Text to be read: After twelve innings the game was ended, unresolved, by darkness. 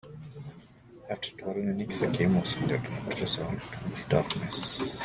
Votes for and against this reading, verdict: 0, 2, rejected